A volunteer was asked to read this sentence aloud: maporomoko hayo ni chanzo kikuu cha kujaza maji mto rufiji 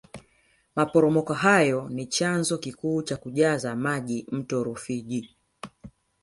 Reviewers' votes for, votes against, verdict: 2, 0, accepted